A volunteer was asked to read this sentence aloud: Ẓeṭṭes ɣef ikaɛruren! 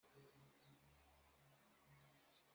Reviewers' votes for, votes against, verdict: 0, 2, rejected